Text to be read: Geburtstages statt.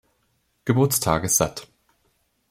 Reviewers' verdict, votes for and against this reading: rejected, 0, 2